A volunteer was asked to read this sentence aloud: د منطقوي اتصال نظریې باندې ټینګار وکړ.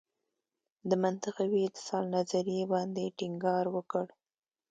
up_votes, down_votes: 2, 0